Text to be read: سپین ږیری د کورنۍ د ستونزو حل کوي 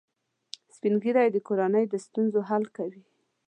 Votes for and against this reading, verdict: 2, 0, accepted